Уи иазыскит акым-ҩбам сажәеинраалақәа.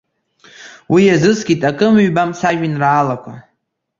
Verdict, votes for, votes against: accepted, 2, 0